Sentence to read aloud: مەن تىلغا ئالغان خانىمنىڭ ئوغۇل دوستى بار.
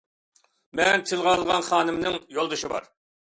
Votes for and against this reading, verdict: 0, 2, rejected